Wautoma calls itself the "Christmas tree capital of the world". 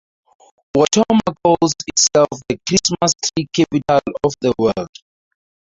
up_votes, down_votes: 2, 4